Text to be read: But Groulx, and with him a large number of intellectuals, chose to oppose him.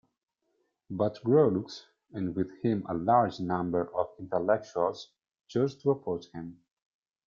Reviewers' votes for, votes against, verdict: 1, 2, rejected